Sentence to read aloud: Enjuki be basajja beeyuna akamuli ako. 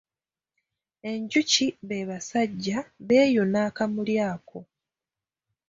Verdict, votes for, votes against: accepted, 2, 0